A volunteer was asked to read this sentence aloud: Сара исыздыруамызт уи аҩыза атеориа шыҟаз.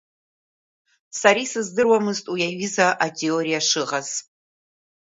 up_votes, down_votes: 2, 0